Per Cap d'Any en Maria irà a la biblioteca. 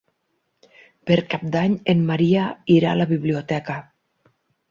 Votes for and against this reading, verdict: 6, 0, accepted